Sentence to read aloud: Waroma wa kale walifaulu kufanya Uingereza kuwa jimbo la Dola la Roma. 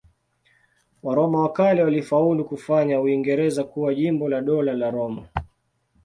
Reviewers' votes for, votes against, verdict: 2, 0, accepted